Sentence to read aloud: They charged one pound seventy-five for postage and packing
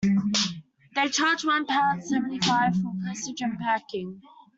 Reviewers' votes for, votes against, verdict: 0, 2, rejected